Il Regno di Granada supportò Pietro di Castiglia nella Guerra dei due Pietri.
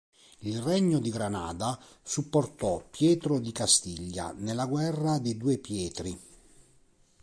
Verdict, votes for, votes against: accepted, 2, 0